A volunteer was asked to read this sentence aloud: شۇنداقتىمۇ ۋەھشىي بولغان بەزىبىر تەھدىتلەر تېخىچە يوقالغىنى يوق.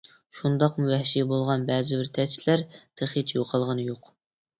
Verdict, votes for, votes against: rejected, 0, 2